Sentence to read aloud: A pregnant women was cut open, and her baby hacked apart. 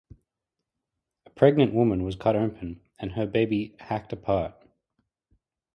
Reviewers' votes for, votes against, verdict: 2, 0, accepted